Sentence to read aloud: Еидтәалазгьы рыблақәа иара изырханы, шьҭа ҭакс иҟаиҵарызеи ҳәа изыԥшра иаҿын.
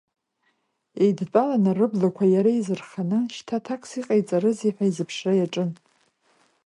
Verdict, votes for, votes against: rejected, 1, 2